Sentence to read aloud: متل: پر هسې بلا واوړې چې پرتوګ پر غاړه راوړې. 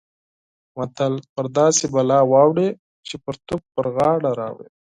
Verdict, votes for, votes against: accepted, 12, 0